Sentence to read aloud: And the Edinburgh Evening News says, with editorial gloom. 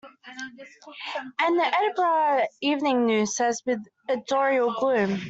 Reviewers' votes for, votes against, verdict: 0, 2, rejected